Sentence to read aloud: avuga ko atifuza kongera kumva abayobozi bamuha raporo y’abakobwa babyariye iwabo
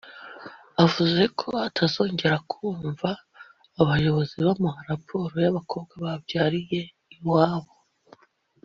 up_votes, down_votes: 0, 2